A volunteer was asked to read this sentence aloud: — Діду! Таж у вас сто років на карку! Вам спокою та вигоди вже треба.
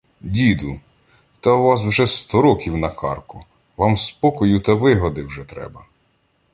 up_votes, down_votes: 1, 2